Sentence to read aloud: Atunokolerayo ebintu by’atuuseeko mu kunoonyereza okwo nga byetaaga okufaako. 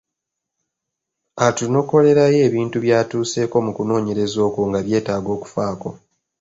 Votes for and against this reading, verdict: 2, 0, accepted